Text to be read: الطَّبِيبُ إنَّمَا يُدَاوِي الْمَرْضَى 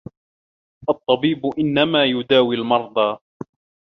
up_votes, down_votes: 2, 1